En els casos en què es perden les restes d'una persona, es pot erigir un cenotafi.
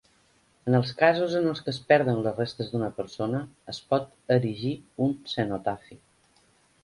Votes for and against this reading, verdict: 2, 3, rejected